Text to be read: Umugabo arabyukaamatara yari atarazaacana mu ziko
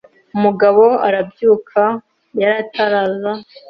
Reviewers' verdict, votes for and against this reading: rejected, 0, 2